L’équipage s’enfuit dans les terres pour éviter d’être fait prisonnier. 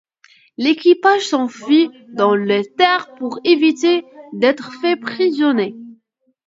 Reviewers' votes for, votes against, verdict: 1, 2, rejected